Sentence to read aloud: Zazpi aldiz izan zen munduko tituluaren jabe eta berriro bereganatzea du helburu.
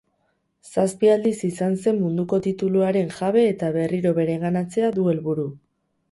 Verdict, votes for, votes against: rejected, 2, 2